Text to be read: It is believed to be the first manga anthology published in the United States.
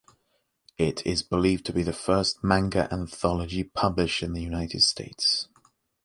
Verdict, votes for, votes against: accepted, 2, 0